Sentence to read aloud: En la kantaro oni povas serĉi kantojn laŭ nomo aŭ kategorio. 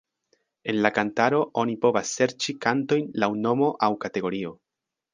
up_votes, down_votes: 2, 0